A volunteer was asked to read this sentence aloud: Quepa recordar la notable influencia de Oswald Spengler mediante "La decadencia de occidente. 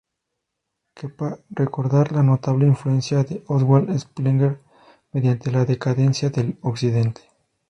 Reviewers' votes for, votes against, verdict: 2, 0, accepted